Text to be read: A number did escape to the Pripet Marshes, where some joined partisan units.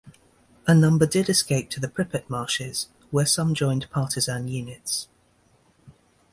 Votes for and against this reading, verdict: 2, 0, accepted